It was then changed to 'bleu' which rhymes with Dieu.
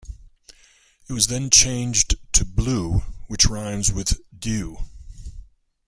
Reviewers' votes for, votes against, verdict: 0, 2, rejected